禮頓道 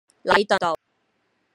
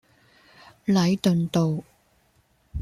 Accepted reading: second